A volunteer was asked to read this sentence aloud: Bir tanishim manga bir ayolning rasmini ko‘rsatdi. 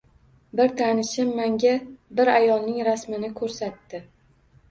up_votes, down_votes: 2, 0